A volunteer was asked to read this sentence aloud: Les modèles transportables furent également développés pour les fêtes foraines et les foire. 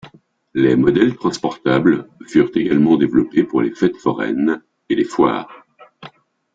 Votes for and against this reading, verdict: 2, 1, accepted